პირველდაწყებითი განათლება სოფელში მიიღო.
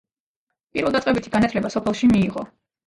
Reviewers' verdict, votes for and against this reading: accepted, 2, 0